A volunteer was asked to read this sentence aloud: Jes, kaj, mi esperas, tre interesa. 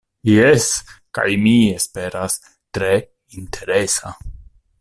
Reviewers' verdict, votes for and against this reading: accepted, 2, 0